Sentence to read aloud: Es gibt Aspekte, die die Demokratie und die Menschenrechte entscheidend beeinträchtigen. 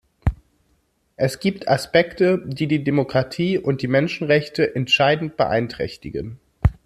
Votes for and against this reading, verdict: 2, 0, accepted